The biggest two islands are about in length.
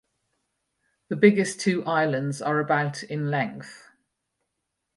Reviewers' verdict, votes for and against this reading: rejected, 2, 2